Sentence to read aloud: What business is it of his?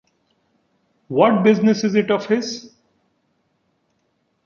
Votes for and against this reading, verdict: 3, 0, accepted